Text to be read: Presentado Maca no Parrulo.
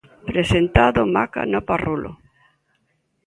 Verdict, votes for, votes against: accepted, 3, 1